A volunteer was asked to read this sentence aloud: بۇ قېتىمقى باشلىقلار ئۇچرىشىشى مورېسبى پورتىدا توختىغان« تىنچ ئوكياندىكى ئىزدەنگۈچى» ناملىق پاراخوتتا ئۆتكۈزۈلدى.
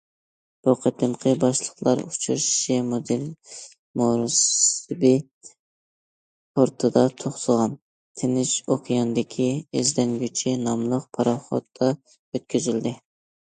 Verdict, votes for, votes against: rejected, 0, 2